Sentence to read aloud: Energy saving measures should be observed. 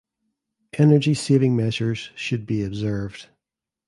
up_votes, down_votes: 2, 0